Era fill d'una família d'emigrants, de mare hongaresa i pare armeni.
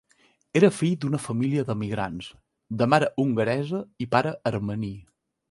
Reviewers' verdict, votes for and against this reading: accepted, 2, 0